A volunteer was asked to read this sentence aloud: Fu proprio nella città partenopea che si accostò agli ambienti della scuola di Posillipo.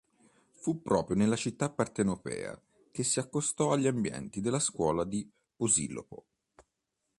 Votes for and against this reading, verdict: 0, 3, rejected